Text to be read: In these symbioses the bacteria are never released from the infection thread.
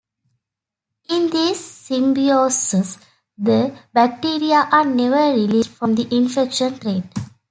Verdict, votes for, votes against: accepted, 2, 0